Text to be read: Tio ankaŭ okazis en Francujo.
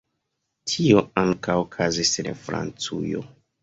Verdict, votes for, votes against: rejected, 1, 2